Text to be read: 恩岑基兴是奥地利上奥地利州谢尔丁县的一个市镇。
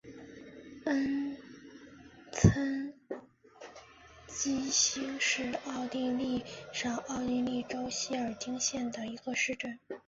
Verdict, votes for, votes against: rejected, 0, 2